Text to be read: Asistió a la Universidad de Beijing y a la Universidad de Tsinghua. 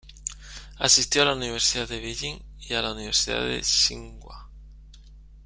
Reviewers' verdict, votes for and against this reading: accepted, 2, 0